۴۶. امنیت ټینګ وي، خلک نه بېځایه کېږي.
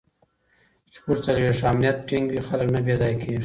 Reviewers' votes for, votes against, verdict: 0, 2, rejected